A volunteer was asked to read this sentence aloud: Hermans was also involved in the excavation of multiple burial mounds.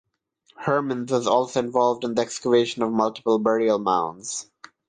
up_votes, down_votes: 0, 3